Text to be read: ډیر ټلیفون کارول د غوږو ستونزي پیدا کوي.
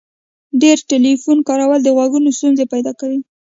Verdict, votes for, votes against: accepted, 3, 0